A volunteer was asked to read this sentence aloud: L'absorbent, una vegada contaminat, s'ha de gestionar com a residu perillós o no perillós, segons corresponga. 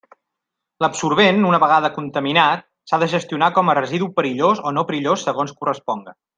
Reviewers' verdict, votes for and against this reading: accepted, 3, 0